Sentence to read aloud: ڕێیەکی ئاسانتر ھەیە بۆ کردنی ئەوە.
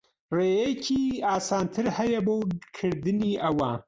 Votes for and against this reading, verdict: 0, 2, rejected